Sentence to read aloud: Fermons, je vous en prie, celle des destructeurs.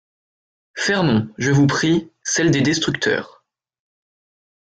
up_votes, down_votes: 1, 2